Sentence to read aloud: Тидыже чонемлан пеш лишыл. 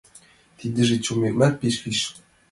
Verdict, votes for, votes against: accepted, 2, 0